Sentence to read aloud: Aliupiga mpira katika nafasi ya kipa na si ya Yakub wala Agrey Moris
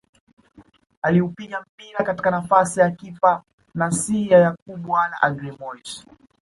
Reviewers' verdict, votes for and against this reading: rejected, 1, 2